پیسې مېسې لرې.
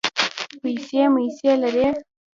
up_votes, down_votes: 0, 2